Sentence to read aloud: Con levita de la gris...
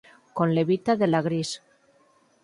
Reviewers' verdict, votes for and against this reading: rejected, 0, 4